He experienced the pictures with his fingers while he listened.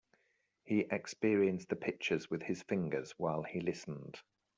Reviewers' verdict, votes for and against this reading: accepted, 2, 0